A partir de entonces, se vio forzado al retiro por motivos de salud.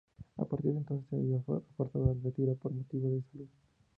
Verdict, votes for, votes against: rejected, 0, 2